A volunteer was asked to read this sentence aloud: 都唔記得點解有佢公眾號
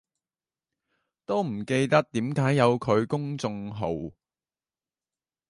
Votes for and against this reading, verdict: 2, 0, accepted